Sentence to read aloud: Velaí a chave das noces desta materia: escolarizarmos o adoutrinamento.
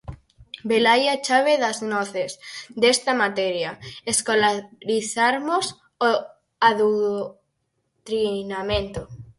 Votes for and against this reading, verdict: 0, 4, rejected